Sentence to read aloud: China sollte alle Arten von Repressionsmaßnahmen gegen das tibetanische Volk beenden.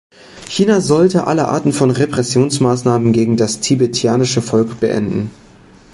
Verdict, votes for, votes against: rejected, 1, 2